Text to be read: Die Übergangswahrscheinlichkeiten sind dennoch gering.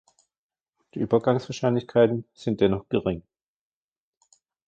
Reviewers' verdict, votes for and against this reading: accepted, 2, 0